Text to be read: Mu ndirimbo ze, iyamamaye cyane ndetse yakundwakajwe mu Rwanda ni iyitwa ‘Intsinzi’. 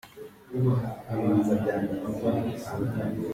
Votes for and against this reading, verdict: 0, 2, rejected